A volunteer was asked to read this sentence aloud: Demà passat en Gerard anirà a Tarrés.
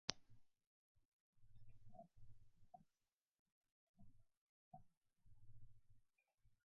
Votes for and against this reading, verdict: 1, 2, rejected